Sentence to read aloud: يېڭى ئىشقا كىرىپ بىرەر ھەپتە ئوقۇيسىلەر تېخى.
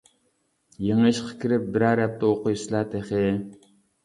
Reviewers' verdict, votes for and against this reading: rejected, 0, 2